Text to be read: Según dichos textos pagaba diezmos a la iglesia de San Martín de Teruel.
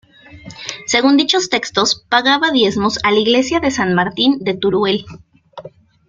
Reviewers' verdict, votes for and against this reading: rejected, 0, 2